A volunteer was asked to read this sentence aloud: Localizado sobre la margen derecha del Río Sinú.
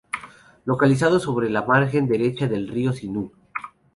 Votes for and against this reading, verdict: 0, 2, rejected